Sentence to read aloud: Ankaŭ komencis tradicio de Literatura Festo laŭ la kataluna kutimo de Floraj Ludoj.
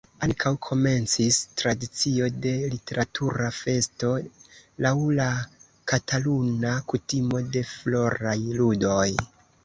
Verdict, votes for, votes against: accepted, 2, 0